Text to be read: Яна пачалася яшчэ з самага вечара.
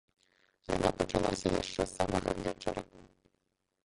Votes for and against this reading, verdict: 0, 2, rejected